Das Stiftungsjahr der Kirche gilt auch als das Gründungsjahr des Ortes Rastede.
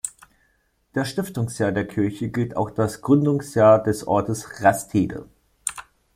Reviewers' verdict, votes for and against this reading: rejected, 1, 2